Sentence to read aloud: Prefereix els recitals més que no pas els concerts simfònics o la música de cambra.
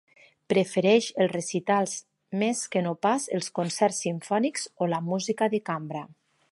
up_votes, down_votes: 6, 0